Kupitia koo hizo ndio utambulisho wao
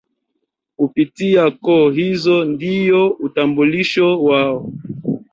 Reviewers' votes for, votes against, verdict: 2, 1, accepted